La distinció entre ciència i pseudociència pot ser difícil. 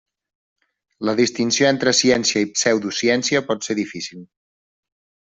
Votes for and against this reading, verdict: 3, 0, accepted